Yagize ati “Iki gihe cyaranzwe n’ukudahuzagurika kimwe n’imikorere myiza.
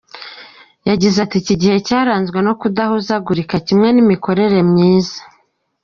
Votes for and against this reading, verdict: 2, 0, accepted